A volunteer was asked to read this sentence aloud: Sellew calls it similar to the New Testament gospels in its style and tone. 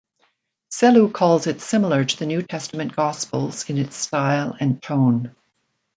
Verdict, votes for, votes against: accepted, 2, 0